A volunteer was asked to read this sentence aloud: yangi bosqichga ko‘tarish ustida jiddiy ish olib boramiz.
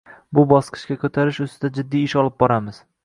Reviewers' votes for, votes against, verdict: 1, 2, rejected